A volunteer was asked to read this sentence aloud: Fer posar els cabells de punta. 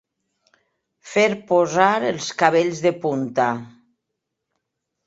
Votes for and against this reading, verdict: 2, 0, accepted